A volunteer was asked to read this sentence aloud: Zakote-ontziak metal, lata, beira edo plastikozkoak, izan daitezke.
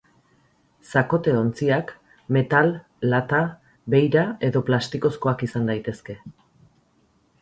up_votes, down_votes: 6, 0